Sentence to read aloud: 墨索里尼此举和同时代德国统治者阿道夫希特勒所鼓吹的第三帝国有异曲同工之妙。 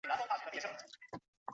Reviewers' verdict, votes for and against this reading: rejected, 0, 2